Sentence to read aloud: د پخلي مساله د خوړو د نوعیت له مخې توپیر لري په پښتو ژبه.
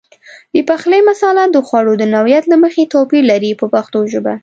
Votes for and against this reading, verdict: 2, 0, accepted